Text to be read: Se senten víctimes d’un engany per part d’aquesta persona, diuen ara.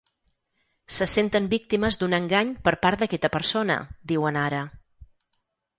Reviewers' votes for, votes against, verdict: 2, 4, rejected